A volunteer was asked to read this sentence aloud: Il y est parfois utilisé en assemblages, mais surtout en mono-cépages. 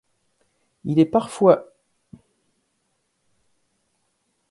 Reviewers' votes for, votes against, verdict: 0, 2, rejected